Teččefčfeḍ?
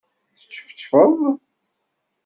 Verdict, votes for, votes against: accepted, 2, 0